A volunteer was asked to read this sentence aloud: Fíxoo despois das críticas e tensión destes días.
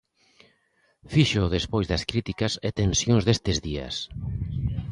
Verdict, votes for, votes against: rejected, 0, 2